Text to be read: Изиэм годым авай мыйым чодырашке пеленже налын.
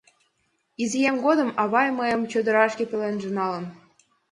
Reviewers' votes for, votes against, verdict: 2, 0, accepted